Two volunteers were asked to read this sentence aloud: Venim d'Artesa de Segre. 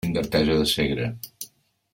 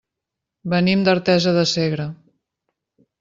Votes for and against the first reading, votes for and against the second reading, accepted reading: 0, 3, 3, 0, second